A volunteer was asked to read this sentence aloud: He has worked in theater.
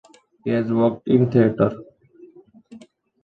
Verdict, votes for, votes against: accepted, 2, 1